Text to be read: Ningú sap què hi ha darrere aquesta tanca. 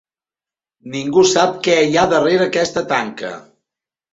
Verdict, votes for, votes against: accepted, 3, 0